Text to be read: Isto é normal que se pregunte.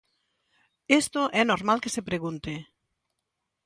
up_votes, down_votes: 1, 2